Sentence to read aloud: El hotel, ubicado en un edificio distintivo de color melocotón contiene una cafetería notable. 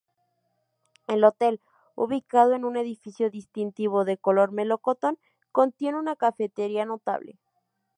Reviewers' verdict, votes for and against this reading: accepted, 2, 0